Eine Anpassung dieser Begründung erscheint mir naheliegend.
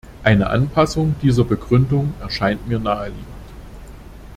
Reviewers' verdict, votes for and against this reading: accepted, 2, 0